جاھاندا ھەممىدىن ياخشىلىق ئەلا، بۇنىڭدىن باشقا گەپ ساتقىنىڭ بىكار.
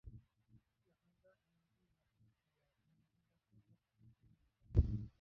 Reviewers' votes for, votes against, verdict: 1, 2, rejected